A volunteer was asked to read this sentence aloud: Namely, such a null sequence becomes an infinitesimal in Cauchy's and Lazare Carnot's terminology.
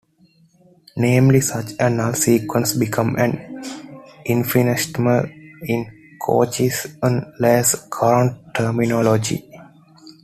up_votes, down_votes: 0, 2